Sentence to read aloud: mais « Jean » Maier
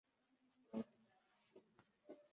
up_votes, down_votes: 1, 2